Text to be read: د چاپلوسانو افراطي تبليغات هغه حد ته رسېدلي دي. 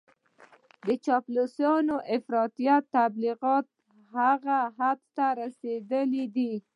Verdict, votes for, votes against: accepted, 2, 0